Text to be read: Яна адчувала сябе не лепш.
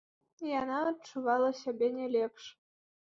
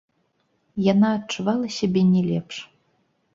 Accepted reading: first